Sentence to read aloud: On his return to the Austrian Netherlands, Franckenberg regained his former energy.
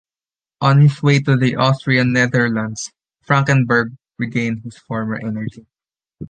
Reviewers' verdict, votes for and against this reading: rejected, 0, 2